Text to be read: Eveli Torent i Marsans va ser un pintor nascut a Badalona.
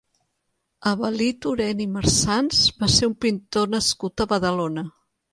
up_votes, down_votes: 2, 1